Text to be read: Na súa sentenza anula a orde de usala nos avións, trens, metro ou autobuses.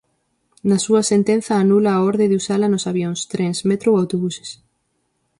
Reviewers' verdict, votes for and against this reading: accepted, 4, 0